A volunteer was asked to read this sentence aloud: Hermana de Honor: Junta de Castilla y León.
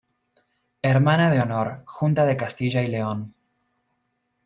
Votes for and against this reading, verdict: 2, 0, accepted